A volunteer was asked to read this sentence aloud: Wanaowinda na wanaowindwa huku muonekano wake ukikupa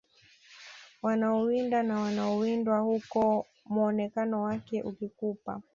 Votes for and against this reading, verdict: 2, 0, accepted